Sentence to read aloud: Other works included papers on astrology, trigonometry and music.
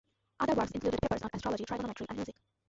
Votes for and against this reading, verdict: 0, 2, rejected